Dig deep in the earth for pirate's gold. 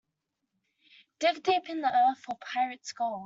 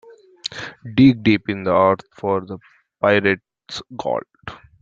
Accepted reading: first